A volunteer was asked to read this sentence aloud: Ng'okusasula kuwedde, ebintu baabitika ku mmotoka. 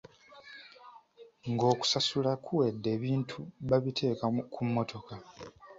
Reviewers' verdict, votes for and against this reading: rejected, 2, 3